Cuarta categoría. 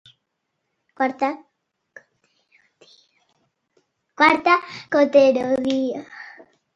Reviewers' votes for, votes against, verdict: 0, 2, rejected